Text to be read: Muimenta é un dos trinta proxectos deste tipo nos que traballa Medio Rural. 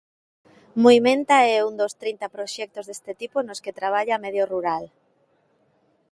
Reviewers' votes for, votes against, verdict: 2, 0, accepted